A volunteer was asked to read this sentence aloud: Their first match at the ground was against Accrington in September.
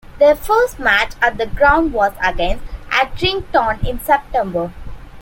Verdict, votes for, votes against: accepted, 2, 1